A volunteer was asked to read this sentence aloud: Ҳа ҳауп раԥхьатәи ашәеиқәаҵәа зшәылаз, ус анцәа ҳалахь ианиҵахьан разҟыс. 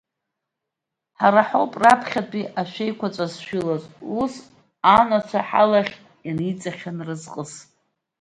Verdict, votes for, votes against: rejected, 0, 2